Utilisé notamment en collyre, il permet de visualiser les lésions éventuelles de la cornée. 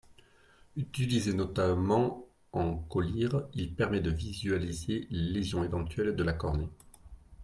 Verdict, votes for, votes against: accepted, 3, 2